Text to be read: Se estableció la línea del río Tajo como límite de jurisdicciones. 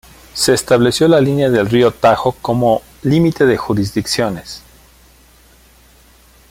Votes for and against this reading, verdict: 2, 0, accepted